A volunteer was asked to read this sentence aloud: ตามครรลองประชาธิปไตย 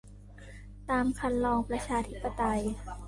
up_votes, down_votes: 2, 1